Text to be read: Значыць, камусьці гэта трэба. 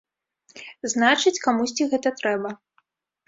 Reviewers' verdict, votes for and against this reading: accepted, 2, 0